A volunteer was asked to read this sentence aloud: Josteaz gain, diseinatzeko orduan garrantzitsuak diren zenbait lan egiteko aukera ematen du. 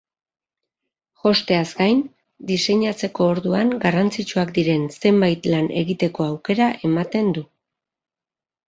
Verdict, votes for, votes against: accepted, 2, 0